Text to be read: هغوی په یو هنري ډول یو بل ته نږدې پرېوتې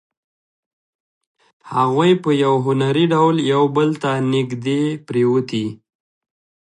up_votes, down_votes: 2, 0